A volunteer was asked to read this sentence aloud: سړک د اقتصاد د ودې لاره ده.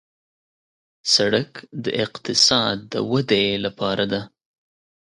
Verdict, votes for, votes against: rejected, 1, 2